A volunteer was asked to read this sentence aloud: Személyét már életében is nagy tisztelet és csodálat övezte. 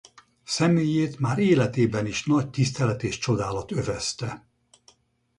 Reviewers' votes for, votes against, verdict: 4, 0, accepted